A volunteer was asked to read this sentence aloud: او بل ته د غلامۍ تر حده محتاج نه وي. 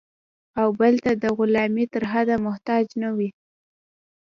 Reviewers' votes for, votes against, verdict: 2, 1, accepted